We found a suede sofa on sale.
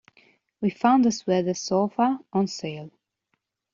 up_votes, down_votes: 1, 2